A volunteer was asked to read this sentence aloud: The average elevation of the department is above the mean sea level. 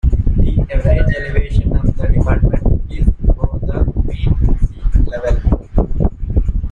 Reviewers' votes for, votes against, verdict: 0, 2, rejected